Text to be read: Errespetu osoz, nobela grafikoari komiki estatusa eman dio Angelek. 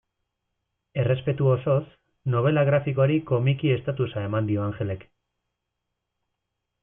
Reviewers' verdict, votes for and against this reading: accepted, 2, 0